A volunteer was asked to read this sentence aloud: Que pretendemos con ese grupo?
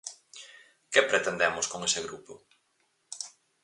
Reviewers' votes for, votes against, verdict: 4, 0, accepted